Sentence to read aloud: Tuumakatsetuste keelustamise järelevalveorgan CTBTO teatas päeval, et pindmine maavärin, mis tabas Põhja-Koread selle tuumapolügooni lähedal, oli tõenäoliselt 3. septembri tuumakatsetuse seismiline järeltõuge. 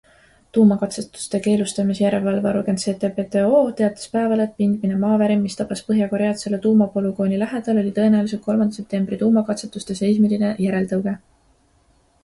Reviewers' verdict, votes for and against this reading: rejected, 0, 2